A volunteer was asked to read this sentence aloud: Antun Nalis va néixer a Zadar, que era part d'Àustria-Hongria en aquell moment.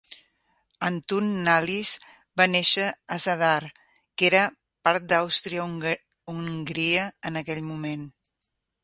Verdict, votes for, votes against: rejected, 1, 2